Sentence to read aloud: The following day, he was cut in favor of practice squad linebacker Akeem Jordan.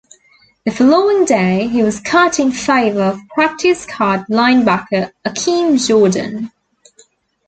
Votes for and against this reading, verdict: 2, 0, accepted